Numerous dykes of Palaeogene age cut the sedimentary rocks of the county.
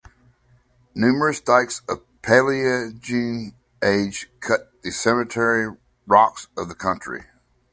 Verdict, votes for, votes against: rejected, 0, 2